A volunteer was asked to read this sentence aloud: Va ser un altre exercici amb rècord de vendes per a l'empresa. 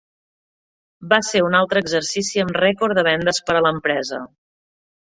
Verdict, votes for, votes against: accepted, 3, 0